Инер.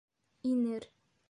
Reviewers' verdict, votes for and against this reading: accepted, 2, 0